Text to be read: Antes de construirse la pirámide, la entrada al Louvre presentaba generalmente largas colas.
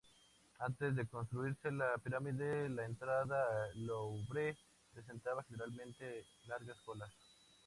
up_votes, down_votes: 0, 2